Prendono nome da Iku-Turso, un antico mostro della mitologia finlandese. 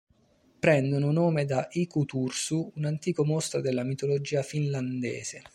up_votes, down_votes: 0, 2